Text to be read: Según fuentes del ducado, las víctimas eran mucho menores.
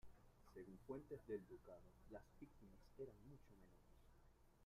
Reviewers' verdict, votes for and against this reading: rejected, 0, 2